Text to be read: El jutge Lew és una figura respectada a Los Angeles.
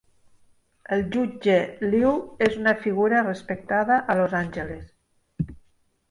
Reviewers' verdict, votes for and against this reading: accepted, 2, 0